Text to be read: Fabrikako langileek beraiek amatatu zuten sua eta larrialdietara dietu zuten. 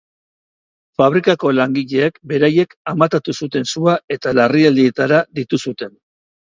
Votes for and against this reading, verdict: 3, 0, accepted